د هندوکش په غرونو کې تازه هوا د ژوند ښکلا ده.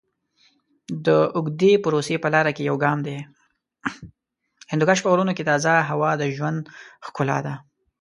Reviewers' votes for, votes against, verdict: 0, 2, rejected